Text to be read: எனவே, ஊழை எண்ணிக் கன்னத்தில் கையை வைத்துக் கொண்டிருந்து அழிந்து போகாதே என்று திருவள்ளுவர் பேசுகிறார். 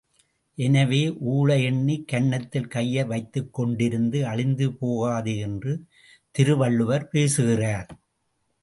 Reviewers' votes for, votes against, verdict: 0, 2, rejected